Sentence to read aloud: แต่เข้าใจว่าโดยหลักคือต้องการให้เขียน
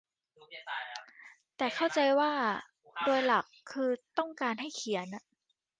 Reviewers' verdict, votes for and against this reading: accepted, 2, 1